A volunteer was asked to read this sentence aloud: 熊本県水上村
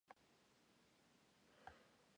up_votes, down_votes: 0, 2